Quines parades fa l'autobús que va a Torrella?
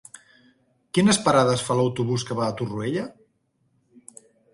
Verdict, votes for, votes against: rejected, 0, 2